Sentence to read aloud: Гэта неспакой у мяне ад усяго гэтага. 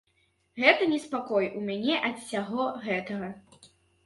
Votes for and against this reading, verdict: 3, 0, accepted